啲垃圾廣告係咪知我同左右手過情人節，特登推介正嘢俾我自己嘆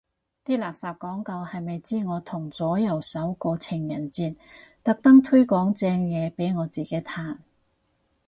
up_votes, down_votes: 2, 4